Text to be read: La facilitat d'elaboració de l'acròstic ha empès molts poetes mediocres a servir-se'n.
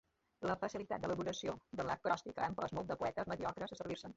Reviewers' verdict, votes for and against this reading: accepted, 2, 1